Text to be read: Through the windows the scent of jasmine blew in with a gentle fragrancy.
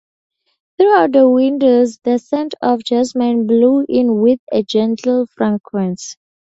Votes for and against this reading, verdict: 0, 2, rejected